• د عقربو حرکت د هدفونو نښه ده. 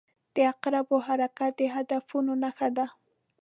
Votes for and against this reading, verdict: 2, 0, accepted